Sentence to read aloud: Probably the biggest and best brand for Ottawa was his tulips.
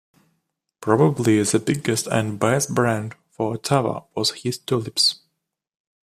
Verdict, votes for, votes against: accepted, 2, 0